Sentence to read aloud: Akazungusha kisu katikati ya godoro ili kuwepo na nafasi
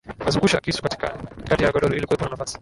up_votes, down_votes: 1, 4